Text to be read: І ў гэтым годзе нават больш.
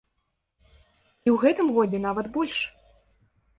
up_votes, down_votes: 0, 2